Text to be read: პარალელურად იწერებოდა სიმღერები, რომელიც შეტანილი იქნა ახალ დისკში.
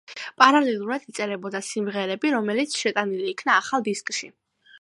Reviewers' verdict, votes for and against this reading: accepted, 2, 0